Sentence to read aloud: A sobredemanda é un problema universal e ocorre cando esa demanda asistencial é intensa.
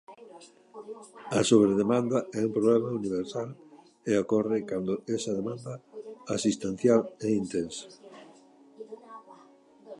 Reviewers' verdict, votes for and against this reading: accepted, 2, 0